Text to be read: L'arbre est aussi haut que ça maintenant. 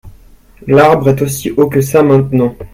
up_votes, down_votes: 2, 1